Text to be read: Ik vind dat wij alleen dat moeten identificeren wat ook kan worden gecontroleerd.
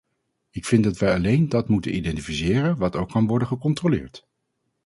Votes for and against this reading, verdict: 2, 0, accepted